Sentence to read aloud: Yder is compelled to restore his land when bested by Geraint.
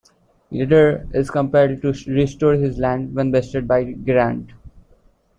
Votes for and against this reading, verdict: 1, 2, rejected